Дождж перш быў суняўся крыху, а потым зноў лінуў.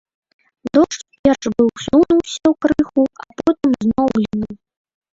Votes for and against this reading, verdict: 0, 2, rejected